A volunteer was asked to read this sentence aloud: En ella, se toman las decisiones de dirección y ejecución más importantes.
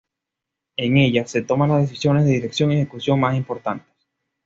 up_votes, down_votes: 2, 1